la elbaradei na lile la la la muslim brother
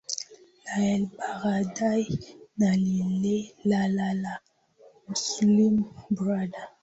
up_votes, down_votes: 1, 2